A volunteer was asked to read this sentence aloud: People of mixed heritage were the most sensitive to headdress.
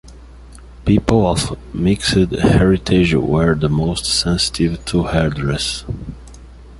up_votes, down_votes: 1, 2